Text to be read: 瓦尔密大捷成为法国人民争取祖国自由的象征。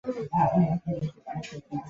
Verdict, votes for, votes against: rejected, 0, 4